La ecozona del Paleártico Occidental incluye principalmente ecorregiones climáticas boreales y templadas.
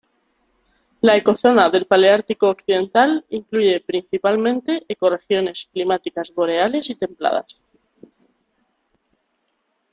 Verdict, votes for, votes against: accepted, 2, 0